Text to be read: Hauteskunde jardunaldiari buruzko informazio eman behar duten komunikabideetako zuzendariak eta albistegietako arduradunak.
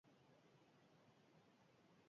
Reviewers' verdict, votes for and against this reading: rejected, 0, 6